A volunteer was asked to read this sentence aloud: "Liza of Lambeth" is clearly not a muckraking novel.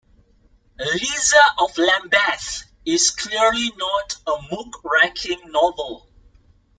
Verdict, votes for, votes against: rejected, 2, 2